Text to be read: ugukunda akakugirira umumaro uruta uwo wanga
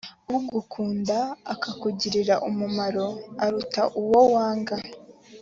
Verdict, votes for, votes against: rejected, 1, 2